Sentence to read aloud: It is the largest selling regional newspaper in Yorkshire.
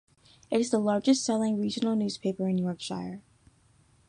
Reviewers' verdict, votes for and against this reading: rejected, 1, 2